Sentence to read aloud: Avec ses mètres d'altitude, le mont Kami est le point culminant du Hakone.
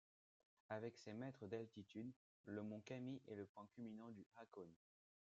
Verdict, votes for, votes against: accepted, 2, 0